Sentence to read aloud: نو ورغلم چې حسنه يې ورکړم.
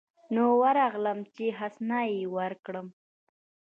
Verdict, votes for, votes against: rejected, 1, 2